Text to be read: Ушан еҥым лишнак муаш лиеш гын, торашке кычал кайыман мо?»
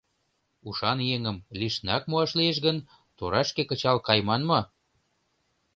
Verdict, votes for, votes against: accepted, 2, 0